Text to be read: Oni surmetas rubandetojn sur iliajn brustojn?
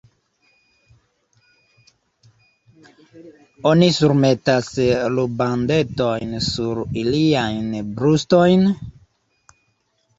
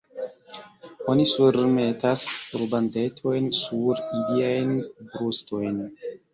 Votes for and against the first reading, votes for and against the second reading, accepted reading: 1, 2, 2, 0, second